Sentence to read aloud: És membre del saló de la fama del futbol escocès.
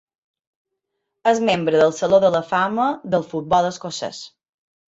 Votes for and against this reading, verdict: 2, 0, accepted